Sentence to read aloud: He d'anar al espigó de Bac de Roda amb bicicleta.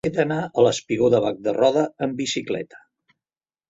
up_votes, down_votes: 2, 0